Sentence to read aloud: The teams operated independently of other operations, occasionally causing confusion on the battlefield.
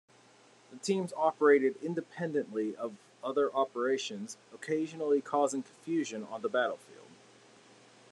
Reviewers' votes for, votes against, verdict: 0, 2, rejected